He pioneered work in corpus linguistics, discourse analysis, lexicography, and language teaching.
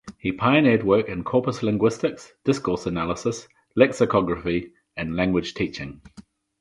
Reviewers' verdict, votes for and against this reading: accepted, 4, 0